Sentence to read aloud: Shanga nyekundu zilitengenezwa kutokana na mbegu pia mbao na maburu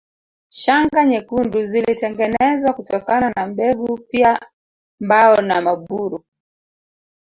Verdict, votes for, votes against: rejected, 1, 2